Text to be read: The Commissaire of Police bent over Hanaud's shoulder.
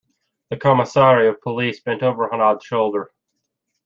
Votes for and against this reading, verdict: 2, 0, accepted